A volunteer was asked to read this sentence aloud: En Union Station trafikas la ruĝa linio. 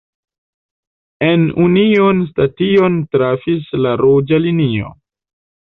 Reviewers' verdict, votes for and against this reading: rejected, 1, 2